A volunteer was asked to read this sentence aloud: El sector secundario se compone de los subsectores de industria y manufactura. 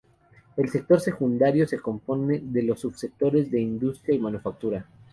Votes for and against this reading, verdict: 2, 0, accepted